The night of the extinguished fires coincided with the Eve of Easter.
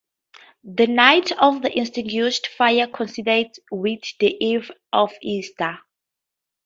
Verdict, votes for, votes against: rejected, 0, 4